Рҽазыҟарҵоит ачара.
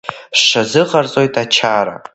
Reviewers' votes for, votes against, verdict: 0, 2, rejected